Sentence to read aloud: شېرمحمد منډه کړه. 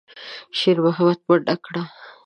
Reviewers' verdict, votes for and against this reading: accepted, 2, 0